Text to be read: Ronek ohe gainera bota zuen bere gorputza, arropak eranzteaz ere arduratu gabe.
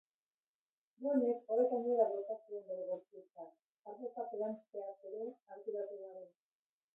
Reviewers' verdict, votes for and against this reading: rejected, 0, 2